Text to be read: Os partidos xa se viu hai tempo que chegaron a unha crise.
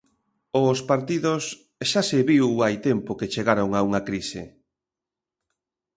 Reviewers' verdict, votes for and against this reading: accepted, 2, 0